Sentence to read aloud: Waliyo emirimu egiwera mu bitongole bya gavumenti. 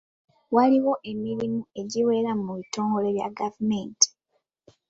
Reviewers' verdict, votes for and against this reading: accepted, 2, 1